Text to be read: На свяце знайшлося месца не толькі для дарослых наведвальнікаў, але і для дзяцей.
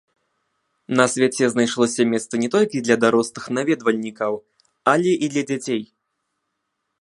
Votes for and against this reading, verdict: 0, 2, rejected